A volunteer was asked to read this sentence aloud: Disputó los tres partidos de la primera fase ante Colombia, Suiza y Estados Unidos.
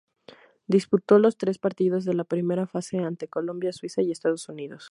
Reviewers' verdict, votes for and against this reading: accepted, 4, 0